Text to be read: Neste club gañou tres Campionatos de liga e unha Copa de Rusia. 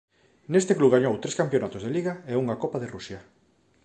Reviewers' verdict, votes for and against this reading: accepted, 2, 0